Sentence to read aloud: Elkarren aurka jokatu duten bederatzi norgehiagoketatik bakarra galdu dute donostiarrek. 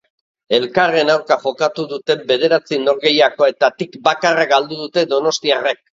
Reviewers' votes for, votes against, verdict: 2, 1, accepted